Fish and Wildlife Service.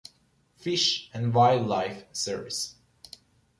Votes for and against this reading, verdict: 3, 1, accepted